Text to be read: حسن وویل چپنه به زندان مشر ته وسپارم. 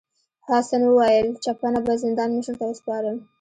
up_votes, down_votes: 2, 1